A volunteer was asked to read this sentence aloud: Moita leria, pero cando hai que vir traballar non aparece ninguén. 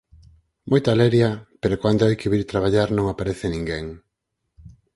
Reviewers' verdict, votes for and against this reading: rejected, 0, 4